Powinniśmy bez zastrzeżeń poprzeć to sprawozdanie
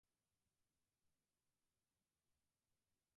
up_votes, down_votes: 0, 2